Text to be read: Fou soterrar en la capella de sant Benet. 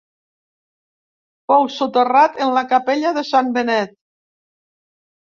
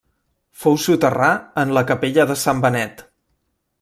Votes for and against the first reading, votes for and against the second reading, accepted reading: 1, 2, 2, 0, second